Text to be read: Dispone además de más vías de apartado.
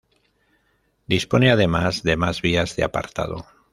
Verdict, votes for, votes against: rejected, 1, 2